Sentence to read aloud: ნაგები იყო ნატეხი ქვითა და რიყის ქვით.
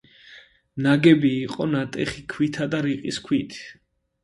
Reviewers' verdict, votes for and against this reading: accepted, 2, 0